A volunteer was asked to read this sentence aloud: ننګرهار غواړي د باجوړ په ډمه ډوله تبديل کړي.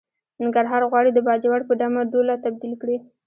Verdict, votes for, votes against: accepted, 2, 0